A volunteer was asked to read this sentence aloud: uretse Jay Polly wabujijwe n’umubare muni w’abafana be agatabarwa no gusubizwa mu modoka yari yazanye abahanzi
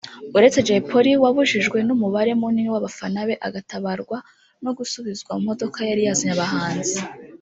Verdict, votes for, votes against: rejected, 1, 2